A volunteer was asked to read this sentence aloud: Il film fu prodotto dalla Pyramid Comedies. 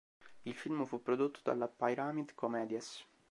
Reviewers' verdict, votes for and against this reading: rejected, 0, 2